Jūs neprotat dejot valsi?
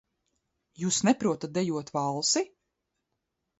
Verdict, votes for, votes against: accepted, 2, 0